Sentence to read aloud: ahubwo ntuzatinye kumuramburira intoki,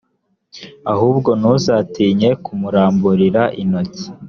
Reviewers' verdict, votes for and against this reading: accepted, 2, 0